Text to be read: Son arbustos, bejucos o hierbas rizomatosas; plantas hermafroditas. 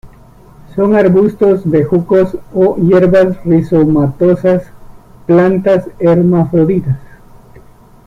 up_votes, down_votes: 2, 0